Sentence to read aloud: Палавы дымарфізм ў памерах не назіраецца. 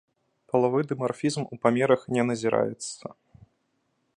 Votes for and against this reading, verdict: 2, 0, accepted